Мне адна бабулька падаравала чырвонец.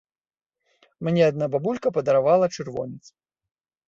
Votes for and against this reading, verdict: 2, 0, accepted